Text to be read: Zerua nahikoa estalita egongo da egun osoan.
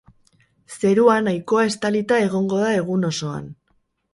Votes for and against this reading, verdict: 2, 2, rejected